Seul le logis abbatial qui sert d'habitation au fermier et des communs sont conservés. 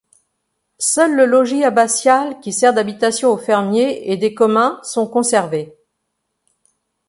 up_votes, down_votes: 2, 0